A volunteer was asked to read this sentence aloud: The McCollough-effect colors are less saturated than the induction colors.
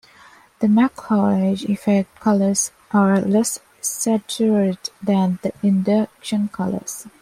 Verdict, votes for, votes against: rejected, 1, 2